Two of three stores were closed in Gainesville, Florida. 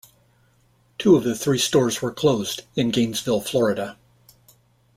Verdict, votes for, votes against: rejected, 0, 2